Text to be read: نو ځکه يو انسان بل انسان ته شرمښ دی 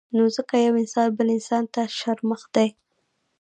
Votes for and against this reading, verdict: 1, 2, rejected